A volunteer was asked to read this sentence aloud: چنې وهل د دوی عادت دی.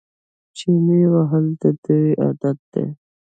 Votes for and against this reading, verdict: 1, 2, rejected